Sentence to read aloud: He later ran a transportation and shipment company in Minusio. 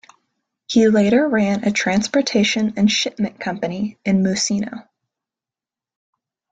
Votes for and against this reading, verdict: 0, 2, rejected